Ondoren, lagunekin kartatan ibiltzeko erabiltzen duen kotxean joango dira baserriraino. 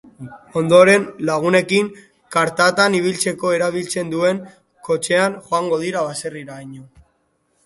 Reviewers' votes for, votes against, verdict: 1, 2, rejected